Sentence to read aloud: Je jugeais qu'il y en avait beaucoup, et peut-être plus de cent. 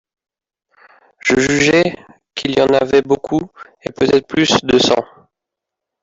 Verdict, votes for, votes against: rejected, 1, 2